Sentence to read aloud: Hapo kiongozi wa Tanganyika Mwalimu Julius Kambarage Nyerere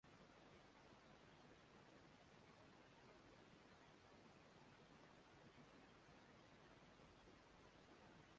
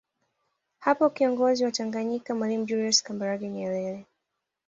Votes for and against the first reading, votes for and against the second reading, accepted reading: 0, 2, 2, 0, second